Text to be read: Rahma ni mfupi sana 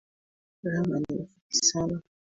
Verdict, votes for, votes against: rejected, 1, 2